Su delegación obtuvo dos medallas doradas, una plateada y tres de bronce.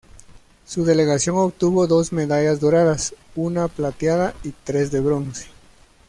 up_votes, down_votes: 2, 0